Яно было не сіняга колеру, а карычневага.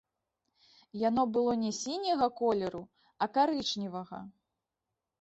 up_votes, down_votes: 1, 2